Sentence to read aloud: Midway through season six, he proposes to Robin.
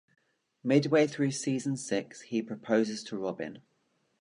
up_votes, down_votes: 2, 0